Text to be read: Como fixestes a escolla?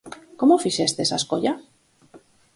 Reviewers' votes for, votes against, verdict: 2, 2, rejected